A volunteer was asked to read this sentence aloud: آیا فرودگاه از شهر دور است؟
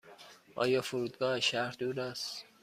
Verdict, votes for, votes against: accepted, 2, 0